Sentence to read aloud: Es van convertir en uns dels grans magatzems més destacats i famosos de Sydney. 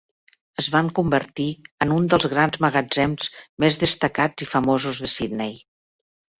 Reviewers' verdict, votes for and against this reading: rejected, 1, 2